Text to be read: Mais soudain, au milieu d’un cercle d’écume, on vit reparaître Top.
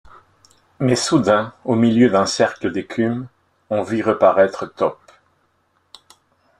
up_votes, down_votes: 2, 0